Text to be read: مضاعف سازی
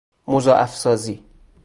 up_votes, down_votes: 2, 0